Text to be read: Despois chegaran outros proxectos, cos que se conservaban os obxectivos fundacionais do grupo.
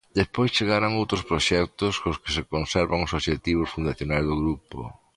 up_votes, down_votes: 0, 2